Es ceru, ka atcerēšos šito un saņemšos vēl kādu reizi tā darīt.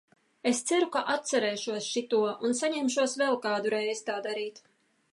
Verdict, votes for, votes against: accepted, 2, 0